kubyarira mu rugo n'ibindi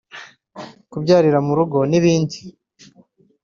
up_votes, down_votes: 2, 0